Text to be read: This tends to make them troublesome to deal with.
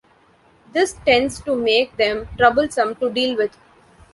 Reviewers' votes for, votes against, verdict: 1, 2, rejected